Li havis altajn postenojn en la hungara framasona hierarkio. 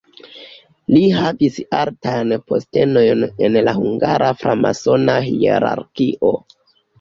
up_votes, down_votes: 0, 2